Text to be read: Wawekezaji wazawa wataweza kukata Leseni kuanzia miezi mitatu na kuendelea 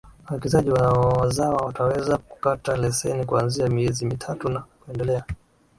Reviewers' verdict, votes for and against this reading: rejected, 3, 4